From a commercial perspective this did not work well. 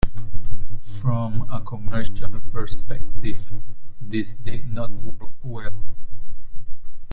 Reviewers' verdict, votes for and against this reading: rejected, 0, 2